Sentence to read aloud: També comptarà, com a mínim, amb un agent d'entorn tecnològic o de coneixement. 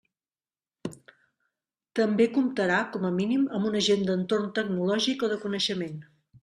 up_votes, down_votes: 3, 0